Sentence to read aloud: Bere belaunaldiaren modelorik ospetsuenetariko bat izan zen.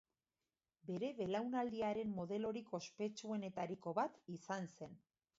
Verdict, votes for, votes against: rejected, 1, 2